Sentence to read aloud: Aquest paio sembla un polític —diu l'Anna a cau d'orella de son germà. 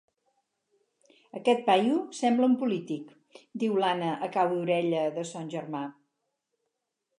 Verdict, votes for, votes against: accepted, 4, 0